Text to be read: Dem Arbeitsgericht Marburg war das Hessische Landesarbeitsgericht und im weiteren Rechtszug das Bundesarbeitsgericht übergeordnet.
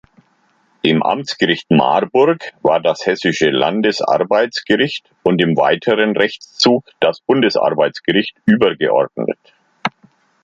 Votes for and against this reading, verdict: 0, 2, rejected